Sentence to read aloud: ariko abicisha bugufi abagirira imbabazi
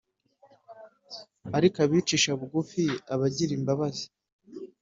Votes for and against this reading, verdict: 3, 1, accepted